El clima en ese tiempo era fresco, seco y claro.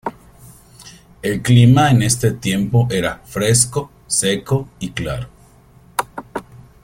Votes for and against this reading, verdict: 1, 2, rejected